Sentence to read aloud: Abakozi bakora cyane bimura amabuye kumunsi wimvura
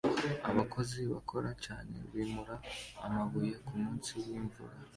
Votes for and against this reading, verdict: 2, 0, accepted